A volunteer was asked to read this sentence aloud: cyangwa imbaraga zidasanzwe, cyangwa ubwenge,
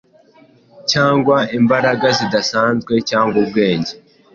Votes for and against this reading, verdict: 2, 0, accepted